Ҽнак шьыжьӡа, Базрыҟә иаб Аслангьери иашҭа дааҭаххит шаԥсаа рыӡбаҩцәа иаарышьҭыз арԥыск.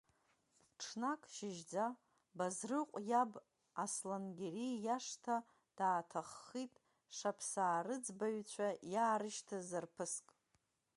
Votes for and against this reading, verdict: 1, 2, rejected